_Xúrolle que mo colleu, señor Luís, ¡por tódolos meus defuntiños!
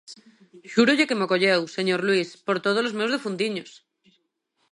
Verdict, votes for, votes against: accepted, 2, 0